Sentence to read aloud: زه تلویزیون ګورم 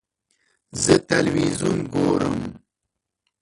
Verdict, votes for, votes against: rejected, 1, 2